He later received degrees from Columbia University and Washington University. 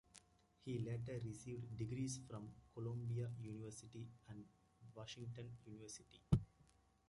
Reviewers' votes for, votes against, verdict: 2, 0, accepted